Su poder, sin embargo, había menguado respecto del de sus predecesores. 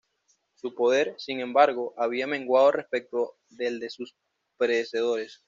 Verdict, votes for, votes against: rejected, 1, 2